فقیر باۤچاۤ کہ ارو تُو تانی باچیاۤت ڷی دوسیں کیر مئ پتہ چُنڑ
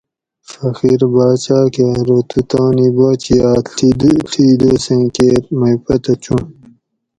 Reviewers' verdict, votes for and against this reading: rejected, 2, 2